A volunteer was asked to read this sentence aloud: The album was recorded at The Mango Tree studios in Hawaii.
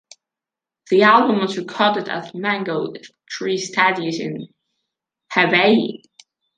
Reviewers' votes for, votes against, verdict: 1, 2, rejected